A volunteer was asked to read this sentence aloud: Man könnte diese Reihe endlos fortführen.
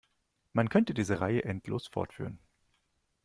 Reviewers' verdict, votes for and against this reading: accepted, 2, 0